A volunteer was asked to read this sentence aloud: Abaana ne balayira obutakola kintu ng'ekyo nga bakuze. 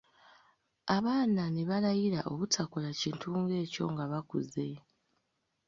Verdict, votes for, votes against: accepted, 2, 0